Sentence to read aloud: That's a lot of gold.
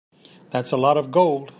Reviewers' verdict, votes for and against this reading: accepted, 2, 0